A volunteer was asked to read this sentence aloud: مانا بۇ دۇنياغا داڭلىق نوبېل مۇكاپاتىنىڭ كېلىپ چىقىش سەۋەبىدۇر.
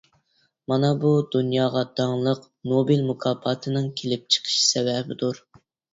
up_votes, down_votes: 2, 0